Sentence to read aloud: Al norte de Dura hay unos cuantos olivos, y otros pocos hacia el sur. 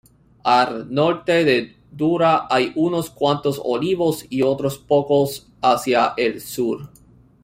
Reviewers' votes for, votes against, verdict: 0, 2, rejected